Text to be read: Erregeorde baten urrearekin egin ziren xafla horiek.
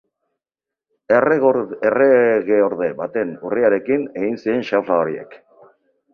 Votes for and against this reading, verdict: 0, 4, rejected